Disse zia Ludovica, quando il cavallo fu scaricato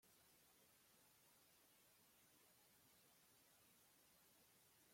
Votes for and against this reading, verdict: 0, 2, rejected